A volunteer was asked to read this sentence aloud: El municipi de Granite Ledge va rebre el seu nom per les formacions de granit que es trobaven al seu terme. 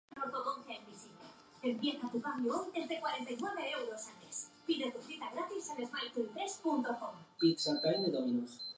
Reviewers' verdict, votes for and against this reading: rejected, 0, 2